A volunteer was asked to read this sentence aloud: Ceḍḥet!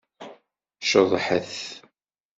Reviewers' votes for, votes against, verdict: 2, 0, accepted